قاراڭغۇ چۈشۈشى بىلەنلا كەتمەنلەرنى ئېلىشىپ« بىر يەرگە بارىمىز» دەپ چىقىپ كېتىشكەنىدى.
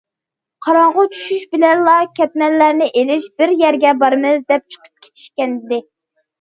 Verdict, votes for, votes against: rejected, 0, 2